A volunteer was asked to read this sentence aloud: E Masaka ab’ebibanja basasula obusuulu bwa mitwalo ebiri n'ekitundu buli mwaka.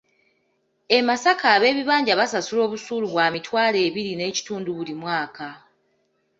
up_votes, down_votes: 2, 0